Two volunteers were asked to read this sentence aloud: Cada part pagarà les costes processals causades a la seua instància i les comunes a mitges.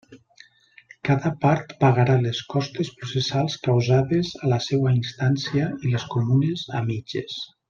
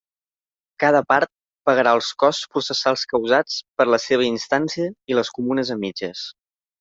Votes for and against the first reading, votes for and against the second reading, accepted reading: 3, 0, 1, 2, first